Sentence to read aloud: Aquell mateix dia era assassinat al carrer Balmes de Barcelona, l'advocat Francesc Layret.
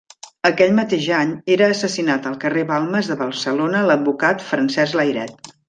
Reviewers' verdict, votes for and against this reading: rejected, 1, 2